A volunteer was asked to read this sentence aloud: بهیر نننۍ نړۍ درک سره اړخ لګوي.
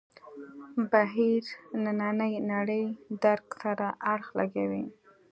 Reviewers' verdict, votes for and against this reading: accepted, 2, 0